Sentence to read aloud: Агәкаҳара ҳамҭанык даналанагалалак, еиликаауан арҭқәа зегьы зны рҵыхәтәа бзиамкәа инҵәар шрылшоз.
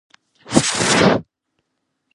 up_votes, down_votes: 0, 2